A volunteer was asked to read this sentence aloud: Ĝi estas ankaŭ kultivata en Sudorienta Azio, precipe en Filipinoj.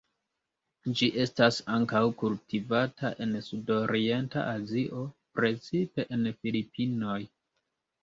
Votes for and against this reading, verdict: 1, 2, rejected